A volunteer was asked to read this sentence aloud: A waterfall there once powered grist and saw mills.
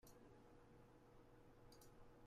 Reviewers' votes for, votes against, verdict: 0, 2, rejected